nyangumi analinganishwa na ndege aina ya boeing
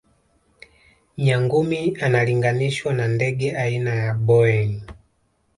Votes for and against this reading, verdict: 2, 0, accepted